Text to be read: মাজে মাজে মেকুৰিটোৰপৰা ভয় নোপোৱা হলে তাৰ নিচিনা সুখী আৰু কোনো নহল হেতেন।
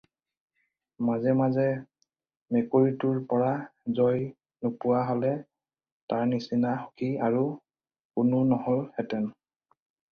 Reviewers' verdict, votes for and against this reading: rejected, 0, 4